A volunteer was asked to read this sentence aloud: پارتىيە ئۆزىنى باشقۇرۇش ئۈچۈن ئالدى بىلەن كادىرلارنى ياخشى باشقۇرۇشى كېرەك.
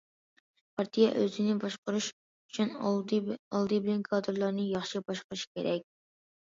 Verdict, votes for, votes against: rejected, 0, 2